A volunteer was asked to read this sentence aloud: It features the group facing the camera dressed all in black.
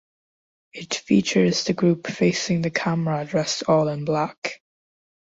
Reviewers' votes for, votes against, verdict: 2, 1, accepted